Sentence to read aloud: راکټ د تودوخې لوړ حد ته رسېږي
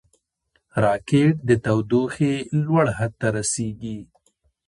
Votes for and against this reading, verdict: 1, 2, rejected